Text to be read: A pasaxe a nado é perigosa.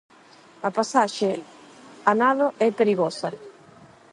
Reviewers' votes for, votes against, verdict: 4, 4, rejected